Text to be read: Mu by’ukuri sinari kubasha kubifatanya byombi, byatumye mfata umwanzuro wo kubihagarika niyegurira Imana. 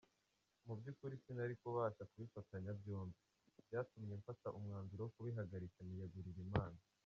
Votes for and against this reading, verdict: 0, 2, rejected